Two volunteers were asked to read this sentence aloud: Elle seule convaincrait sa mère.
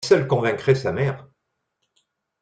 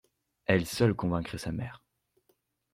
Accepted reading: second